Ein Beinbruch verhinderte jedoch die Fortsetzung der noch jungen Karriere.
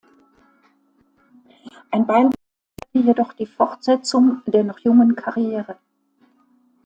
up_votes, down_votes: 1, 2